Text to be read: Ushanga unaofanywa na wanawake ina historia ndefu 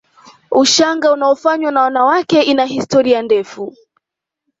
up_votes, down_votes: 2, 0